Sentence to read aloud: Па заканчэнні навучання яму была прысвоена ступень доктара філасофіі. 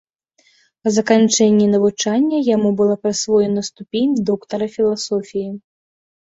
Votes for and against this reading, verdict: 2, 0, accepted